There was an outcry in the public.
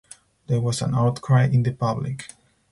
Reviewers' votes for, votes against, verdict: 2, 2, rejected